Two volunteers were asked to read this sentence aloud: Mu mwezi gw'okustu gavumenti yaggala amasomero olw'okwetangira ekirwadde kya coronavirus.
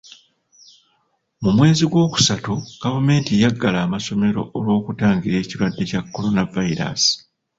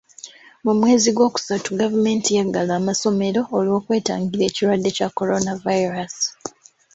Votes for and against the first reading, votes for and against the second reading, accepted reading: 1, 2, 2, 0, second